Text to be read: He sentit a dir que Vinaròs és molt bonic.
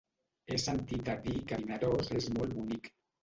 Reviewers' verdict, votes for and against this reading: rejected, 2, 3